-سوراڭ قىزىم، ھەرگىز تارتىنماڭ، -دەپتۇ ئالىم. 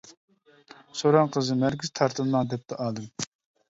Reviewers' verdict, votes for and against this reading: rejected, 1, 2